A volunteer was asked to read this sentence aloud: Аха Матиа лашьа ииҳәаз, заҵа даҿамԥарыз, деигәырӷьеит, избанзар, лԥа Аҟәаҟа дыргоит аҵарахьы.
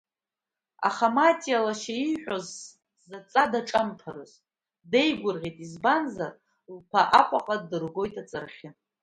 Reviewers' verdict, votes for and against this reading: accepted, 2, 0